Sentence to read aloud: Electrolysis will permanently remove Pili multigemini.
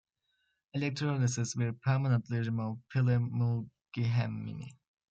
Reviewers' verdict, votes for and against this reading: rejected, 1, 2